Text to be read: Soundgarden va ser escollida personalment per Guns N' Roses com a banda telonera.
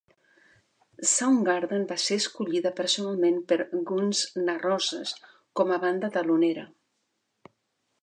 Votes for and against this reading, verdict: 2, 1, accepted